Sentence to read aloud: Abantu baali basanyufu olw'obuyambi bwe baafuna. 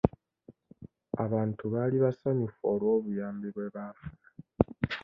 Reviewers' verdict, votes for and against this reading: accepted, 2, 0